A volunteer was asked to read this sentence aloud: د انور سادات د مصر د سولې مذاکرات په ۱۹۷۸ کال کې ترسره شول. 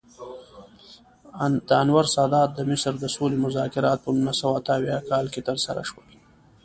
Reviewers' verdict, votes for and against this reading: rejected, 0, 2